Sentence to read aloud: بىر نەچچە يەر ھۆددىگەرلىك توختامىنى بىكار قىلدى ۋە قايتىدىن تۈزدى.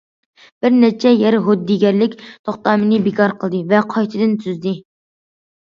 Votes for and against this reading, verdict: 2, 1, accepted